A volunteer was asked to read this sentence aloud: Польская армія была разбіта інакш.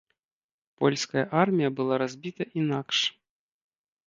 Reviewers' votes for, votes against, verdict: 2, 0, accepted